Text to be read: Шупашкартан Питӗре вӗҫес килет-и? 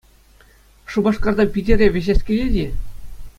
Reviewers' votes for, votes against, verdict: 2, 0, accepted